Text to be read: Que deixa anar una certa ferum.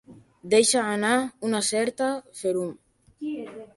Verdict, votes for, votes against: rejected, 0, 2